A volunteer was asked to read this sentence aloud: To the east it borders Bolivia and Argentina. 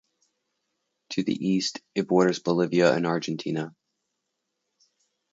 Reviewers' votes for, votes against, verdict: 2, 0, accepted